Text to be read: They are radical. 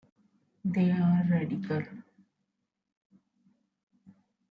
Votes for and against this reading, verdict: 1, 2, rejected